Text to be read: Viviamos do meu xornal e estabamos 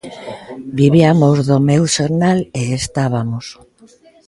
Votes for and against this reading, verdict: 0, 2, rejected